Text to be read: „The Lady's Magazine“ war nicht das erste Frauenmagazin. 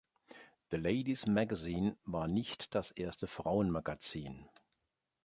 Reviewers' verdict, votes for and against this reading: accepted, 3, 0